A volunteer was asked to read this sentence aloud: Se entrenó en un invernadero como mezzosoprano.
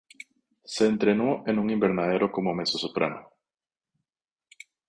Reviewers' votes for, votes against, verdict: 2, 0, accepted